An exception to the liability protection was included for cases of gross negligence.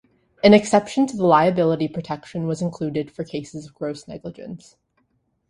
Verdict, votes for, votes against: accepted, 2, 0